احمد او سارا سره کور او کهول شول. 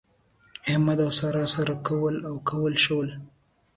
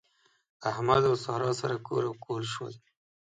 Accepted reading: second